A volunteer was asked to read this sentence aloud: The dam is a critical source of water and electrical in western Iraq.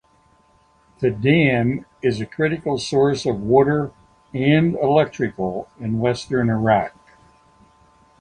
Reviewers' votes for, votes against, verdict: 2, 0, accepted